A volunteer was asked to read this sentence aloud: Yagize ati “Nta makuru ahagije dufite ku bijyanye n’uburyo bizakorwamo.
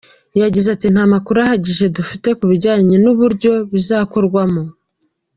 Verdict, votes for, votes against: accepted, 2, 0